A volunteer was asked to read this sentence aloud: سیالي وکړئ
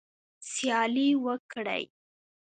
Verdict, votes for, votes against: accepted, 2, 0